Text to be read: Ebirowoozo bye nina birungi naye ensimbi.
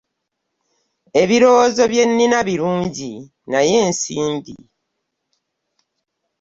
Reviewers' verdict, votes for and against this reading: accepted, 2, 0